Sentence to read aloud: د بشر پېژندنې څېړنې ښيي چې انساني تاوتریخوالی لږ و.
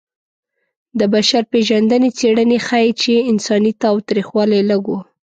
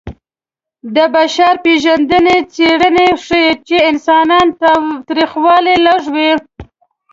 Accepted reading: first